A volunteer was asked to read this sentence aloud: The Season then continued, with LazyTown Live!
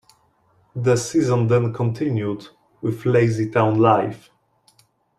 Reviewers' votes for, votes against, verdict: 2, 0, accepted